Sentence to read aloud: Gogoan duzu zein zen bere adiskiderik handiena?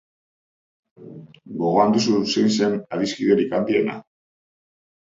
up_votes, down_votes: 1, 2